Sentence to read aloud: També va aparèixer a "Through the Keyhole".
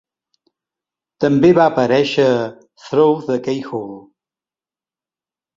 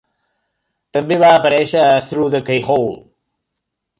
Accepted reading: second